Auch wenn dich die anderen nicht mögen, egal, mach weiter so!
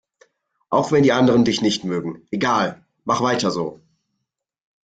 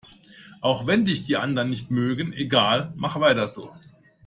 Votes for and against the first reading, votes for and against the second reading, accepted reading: 0, 2, 2, 0, second